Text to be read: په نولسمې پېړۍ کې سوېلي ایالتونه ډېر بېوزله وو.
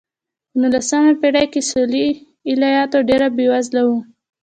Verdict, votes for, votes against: rejected, 1, 2